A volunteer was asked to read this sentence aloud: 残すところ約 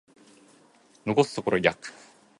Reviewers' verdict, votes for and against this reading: accepted, 2, 0